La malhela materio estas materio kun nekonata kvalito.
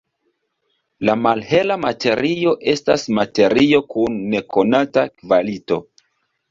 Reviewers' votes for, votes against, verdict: 0, 2, rejected